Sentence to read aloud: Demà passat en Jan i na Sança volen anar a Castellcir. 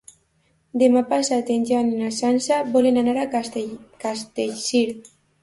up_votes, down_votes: 2, 0